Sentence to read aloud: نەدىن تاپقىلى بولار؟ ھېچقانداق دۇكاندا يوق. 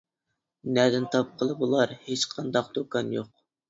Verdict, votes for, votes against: rejected, 1, 2